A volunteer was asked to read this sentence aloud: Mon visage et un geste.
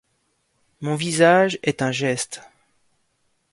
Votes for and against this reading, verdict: 1, 2, rejected